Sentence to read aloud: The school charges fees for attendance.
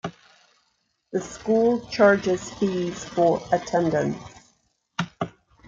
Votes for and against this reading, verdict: 2, 1, accepted